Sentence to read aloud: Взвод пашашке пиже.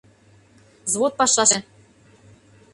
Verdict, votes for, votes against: rejected, 0, 2